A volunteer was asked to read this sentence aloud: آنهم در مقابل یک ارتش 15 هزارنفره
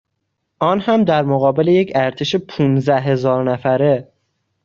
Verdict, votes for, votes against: rejected, 0, 2